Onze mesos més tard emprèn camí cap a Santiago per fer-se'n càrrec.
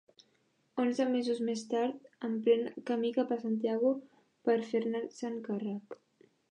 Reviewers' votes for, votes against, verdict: 1, 2, rejected